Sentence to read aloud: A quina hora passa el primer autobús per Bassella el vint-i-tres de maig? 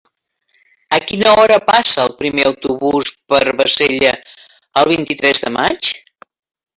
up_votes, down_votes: 3, 0